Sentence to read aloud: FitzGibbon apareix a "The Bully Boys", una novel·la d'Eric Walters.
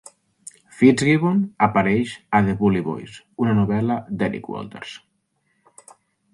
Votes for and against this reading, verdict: 3, 0, accepted